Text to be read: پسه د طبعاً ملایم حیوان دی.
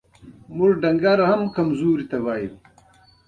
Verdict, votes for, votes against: rejected, 1, 2